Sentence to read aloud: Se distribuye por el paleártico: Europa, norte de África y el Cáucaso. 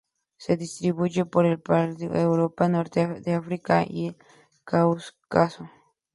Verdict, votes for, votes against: rejected, 0, 2